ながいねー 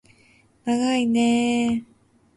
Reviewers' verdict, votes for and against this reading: accepted, 2, 0